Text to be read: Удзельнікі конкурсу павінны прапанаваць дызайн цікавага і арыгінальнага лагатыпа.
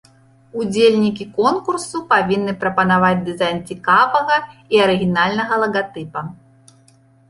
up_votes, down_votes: 1, 2